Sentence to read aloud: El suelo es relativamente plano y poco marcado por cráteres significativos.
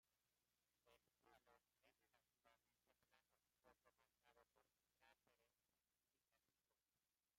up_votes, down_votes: 0, 2